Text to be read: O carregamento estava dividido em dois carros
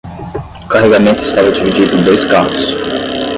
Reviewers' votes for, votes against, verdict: 5, 10, rejected